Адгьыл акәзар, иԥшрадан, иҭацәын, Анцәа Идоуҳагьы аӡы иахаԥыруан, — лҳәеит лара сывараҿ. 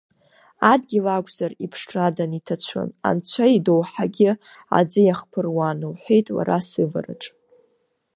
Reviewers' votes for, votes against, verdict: 0, 2, rejected